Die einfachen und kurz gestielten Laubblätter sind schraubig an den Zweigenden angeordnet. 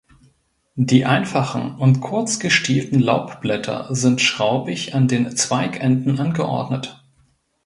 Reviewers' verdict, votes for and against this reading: accepted, 2, 0